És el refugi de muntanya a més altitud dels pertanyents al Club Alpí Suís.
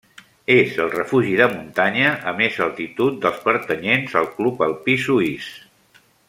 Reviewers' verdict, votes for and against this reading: accepted, 3, 0